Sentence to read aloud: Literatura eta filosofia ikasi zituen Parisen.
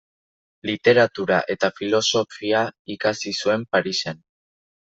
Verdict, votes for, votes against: rejected, 1, 2